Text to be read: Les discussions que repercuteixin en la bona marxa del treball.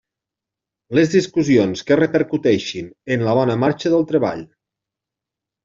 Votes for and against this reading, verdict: 3, 1, accepted